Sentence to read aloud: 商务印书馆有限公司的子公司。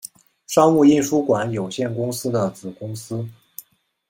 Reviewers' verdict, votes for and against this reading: accepted, 2, 0